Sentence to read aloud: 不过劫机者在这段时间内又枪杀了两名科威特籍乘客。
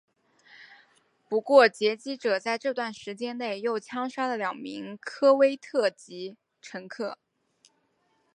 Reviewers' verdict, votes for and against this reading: accepted, 4, 0